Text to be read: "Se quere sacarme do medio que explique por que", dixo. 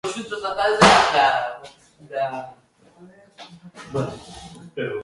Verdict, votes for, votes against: rejected, 0, 2